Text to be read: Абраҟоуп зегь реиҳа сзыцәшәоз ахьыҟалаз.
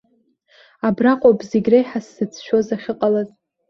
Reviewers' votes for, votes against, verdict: 2, 0, accepted